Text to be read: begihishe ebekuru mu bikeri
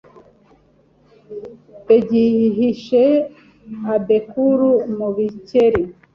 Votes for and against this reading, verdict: 0, 2, rejected